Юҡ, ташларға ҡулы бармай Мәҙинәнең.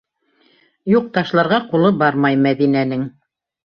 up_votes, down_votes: 2, 0